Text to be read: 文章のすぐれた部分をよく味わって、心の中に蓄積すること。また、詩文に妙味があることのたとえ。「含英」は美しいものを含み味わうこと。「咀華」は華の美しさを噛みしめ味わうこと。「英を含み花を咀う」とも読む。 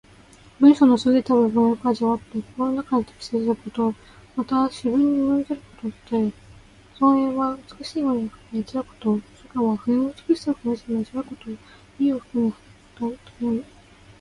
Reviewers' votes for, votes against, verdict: 1, 2, rejected